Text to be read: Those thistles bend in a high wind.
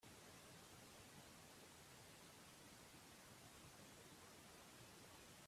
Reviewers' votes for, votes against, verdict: 0, 2, rejected